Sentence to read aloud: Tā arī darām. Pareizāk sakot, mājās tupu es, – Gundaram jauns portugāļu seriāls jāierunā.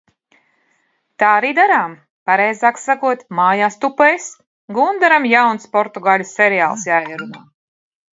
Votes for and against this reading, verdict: 0, 2, rejected